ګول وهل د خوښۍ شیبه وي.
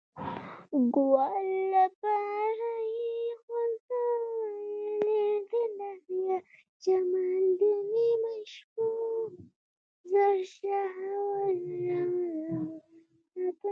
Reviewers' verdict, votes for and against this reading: rejected, 1, 2